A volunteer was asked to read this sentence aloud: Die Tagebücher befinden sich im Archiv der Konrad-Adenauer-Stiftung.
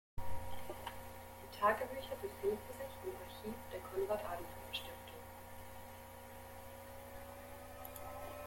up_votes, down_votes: 0, 2